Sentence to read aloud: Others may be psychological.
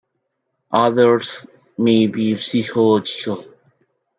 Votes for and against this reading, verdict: 0, 2, rejected